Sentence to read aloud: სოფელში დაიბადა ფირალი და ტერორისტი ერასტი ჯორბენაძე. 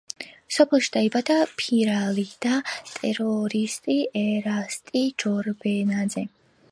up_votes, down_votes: 2, 0